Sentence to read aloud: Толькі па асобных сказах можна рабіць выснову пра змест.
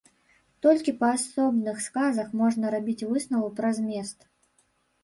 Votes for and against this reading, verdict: 1, 2, rejected